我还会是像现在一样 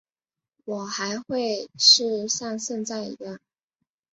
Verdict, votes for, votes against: accepted, 6, 2